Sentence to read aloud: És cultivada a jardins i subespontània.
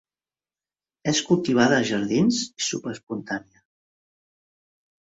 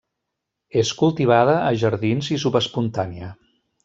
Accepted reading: second